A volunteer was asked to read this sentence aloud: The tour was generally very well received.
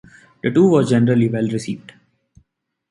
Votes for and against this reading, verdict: 0, 2, rejected